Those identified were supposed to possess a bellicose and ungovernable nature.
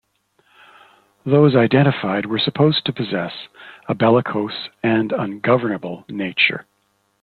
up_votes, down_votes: 2, 0